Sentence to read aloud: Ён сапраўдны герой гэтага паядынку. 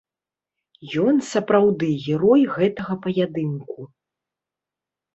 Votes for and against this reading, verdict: 1, 2, rejected